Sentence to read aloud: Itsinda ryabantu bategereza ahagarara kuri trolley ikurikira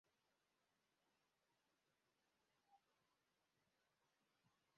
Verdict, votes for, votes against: rejected, 0, 2